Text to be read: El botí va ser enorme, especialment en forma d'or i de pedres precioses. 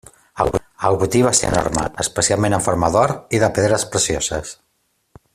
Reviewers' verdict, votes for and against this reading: rejected, 0, 2